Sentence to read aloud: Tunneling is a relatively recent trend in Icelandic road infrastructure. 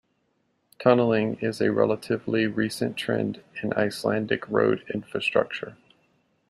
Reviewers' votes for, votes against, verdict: 2, 0, accepted